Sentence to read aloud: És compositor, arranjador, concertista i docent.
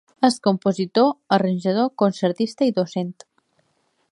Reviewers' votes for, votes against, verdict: 2, 0, accepted